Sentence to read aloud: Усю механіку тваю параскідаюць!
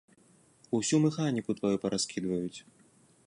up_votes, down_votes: 0, 2